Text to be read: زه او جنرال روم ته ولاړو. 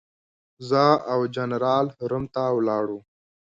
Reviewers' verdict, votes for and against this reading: accepted, 2, 1